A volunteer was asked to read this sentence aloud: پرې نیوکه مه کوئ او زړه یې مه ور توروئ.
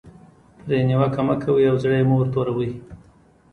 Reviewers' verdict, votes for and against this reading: accepted, 2, 0